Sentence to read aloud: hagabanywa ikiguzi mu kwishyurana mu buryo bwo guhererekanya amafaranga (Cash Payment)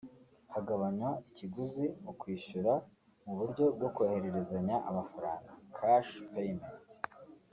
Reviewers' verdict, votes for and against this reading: rejected, 1, 2